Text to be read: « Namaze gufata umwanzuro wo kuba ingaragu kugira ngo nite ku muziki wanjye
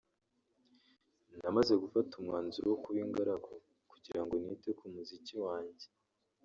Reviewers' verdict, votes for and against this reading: rejected, 0, 2